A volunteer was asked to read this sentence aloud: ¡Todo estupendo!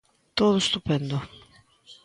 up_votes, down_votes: 2, 0